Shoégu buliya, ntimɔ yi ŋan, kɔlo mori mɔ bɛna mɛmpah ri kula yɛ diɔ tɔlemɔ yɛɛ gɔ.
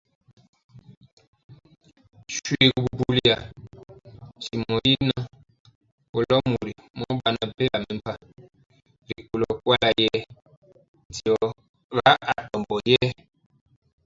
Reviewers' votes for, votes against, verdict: 0, 2, rejected